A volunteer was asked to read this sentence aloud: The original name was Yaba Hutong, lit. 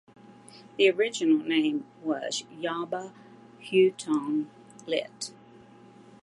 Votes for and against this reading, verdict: 2, 0, accepted